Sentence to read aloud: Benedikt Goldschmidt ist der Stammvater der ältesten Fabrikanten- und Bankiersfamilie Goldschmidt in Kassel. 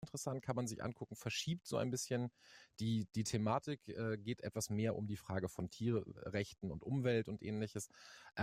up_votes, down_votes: 0, 2